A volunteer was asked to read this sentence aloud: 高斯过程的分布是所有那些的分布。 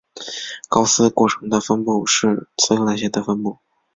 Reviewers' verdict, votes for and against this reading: accepted, 2, 0